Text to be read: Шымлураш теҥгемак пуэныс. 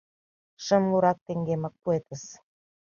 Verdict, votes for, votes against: rejected, 0, 2